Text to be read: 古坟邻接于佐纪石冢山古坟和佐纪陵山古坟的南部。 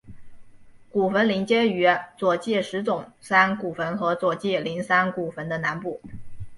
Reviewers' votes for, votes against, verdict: 4, 0, accepted